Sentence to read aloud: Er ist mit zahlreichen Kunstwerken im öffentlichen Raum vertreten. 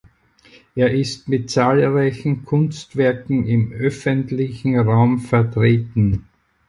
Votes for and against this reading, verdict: 4, 0, accepted